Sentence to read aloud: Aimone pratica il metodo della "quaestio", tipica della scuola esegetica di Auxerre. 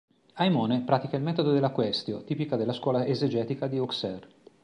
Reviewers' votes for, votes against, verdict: 3, 0, accepted